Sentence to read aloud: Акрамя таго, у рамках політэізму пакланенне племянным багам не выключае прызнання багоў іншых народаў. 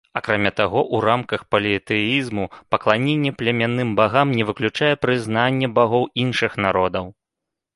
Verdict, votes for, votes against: rejected, 0, 2